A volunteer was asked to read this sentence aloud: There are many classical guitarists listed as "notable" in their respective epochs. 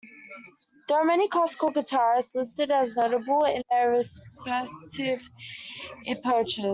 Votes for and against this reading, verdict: 0, 2, rejected